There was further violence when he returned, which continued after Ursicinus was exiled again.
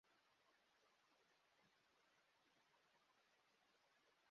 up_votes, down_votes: 0, 2